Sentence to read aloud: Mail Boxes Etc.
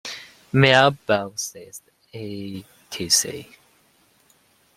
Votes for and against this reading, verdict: 2, 0, accepted